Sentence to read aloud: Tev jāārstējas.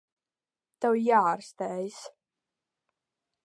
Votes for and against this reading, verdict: 2, 0, accepted